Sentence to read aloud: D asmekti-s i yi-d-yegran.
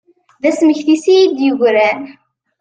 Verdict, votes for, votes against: accepted, 2, 0